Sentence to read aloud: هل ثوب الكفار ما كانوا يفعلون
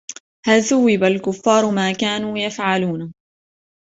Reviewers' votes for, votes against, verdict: 0, 2, rejected